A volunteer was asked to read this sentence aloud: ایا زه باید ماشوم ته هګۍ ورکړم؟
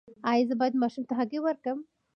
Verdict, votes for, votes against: accepted, 2, 0